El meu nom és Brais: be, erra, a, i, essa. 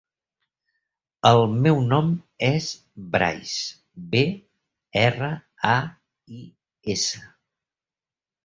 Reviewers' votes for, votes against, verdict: 2, 1, accepted